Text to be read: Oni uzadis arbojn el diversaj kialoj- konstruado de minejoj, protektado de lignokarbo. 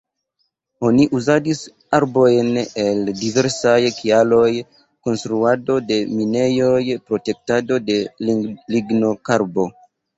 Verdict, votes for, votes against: rejected, 0, 2